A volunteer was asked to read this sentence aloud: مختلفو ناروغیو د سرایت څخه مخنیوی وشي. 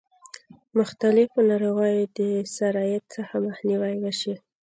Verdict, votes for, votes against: rejected, 0, 2